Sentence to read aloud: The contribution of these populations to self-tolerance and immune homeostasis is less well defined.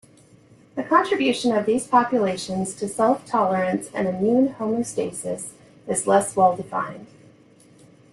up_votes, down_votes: 3, 0